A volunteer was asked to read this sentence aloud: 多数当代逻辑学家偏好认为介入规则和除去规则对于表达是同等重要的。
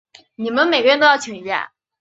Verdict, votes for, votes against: rejected, 1, 4